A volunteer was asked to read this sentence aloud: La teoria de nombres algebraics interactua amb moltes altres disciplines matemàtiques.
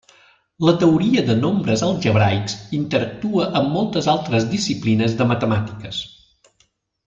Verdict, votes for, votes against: rejected, 0, 2